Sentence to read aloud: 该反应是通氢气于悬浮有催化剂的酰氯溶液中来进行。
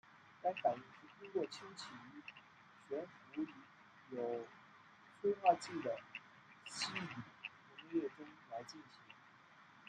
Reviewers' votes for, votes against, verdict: 0, 2, rejected